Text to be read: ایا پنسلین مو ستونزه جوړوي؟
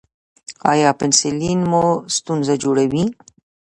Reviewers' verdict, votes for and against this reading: rejected, 1, 2